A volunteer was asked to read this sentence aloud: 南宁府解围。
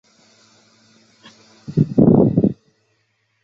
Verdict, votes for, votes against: rejected, 0, 2